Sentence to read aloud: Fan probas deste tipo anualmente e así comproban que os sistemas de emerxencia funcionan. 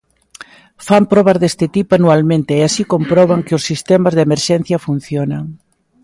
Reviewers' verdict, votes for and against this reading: accepted, 2, 0